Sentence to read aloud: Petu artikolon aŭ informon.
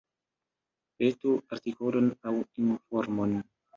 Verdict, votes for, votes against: rejected, 1, 3